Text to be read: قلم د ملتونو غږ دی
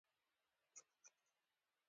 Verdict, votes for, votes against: accepted, 2, 0